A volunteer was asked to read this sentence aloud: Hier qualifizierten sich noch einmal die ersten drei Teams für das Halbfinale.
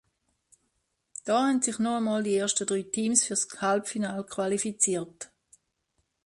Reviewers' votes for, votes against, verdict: 0, 2, rejected